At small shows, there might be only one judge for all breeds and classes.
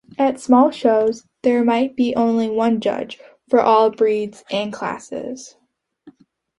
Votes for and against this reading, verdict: 2, 1, accepted